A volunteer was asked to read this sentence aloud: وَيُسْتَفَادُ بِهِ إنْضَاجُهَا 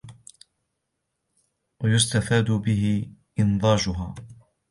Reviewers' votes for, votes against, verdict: 2, 1, accepted